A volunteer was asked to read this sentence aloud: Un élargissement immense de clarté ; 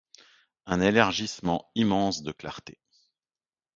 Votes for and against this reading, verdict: 2, 0, accepted